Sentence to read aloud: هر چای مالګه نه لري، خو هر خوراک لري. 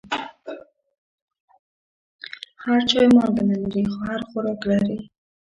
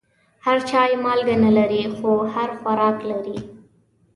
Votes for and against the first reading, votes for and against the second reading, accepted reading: 1, 2, 2, 0, second